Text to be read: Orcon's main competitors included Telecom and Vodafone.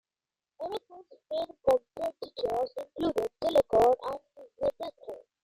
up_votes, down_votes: 0, 2